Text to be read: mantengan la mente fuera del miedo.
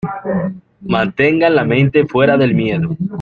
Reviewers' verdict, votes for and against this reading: accepted, 2, 0